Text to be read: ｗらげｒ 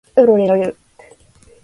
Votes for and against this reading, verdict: 1, 2, rejected